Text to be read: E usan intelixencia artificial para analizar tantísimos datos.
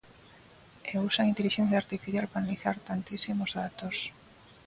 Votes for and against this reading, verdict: 2, 0, accepted